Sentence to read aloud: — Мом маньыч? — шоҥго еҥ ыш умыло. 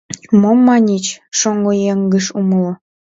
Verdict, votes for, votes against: rejected, 1, 2